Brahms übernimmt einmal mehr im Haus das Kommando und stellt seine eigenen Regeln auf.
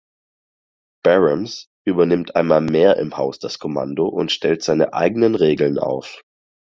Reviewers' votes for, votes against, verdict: 2, 4, rejected